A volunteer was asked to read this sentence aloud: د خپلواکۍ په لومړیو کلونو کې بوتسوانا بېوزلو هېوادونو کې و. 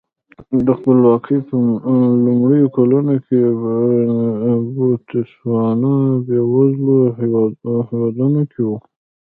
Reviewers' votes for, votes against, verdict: 1, 2, rejected